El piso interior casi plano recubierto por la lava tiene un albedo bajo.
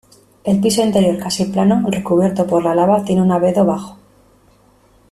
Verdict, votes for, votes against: rejected, 1, 2